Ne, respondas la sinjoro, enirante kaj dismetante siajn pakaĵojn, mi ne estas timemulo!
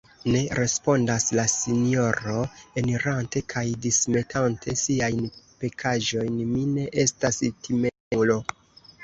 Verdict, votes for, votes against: rejected, 1, 2